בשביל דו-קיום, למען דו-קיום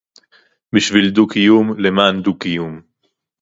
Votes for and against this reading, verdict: 2, 0, accepted